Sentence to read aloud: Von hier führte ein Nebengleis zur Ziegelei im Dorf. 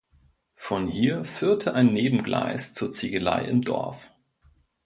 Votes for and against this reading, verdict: 2, 0, accepted